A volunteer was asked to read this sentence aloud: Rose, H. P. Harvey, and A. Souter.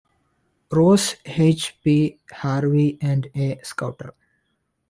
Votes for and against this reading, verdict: 0, 2, rejected